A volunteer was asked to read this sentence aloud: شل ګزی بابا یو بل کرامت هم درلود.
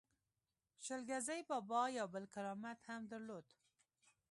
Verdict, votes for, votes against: accepted, 2, 0